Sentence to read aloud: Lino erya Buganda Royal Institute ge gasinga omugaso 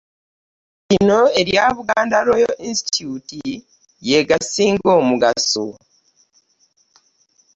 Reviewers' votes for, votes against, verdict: 0, 2, rejected